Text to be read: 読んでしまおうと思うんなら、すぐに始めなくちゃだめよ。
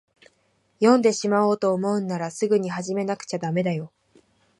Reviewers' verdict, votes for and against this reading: rejected, 1, 2